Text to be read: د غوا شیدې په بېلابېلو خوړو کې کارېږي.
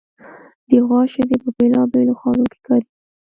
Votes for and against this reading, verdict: 1, 2, rejected